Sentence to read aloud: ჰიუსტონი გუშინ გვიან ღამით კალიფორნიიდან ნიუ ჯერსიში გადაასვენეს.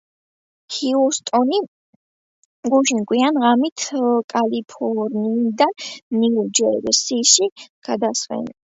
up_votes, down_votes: 2, 1